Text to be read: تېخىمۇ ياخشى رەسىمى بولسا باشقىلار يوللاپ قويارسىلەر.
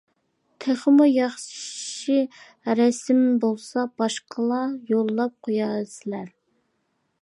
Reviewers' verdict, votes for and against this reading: rejected, 1, 2